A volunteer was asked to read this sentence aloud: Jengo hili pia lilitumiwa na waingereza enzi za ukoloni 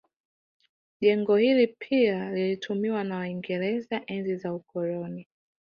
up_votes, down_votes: 0, 2